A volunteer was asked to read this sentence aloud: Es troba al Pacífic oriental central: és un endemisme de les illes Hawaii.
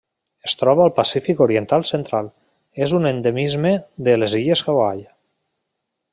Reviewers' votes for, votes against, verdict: 3, 0, accepted